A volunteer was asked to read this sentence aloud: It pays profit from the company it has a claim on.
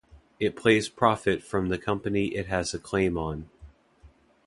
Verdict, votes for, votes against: rejected, 0, 2